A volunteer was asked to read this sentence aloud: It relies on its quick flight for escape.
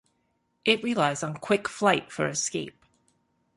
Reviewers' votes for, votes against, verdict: 0, 2, rejected